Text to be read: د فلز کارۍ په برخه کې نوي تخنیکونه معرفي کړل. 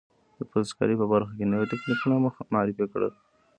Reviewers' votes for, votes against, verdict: 1, 2, rejected